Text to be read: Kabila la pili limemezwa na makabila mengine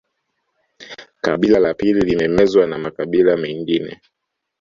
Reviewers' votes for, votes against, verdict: 2, 0, accepted